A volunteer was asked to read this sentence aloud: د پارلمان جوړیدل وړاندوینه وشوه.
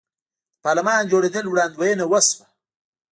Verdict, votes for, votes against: rejected, 1, 2